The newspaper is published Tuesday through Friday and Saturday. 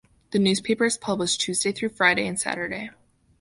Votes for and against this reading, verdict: 2, 0, accepted